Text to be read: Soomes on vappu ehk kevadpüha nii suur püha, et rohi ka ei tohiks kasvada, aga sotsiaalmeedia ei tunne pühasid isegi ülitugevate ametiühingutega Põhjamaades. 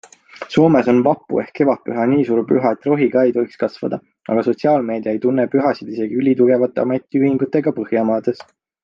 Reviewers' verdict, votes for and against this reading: accepted, 2, 0